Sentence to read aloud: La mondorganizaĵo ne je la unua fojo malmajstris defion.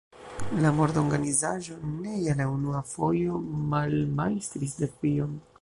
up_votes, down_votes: 1, 2